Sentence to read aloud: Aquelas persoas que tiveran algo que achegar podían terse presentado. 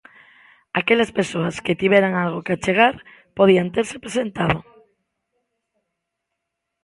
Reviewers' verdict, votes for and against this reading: accepted, 2, 0